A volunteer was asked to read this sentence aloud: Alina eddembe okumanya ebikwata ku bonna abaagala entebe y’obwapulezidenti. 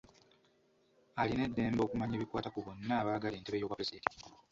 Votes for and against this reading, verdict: 2, 0, accepted